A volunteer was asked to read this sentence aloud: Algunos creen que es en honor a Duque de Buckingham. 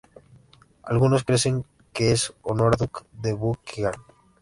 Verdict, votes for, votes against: rejected, 0, 2